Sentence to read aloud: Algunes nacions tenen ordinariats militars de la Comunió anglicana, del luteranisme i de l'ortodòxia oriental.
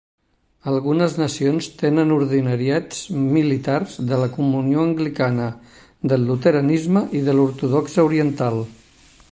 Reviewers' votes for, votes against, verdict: 2, 0, accepted